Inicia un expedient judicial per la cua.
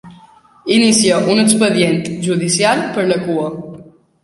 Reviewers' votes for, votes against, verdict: 3, 0, accepted